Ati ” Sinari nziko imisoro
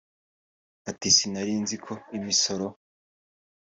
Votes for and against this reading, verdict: 4, 0, accepted